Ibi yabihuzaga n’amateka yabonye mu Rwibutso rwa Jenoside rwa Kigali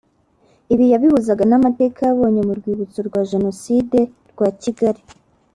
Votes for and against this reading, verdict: 2, 0, accepted